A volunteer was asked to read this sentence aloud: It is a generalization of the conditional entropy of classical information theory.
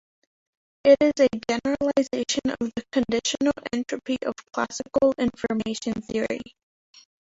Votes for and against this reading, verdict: 3, 1, accepted